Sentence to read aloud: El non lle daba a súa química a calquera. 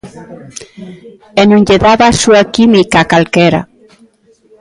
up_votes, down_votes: 0, 2